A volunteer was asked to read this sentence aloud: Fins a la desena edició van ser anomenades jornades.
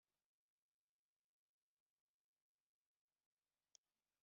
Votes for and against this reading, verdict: 0, 2, rejected